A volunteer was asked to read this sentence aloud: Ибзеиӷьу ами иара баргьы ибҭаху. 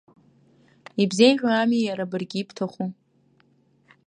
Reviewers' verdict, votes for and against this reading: accepted, 2, 0